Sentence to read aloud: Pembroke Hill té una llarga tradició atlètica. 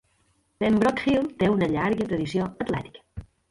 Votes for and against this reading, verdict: 2, 0, accepted